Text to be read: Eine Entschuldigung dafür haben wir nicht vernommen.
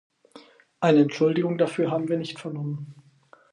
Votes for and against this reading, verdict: 4, 2, accepted